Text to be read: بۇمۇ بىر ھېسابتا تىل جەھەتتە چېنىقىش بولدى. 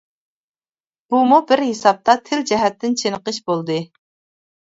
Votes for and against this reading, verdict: 0, 2, rejected